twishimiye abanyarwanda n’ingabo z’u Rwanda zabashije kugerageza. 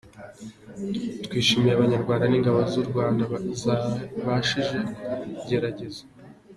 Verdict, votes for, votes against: rejected, 1, 2